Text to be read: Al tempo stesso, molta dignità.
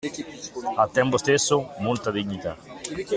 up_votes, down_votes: 2, 1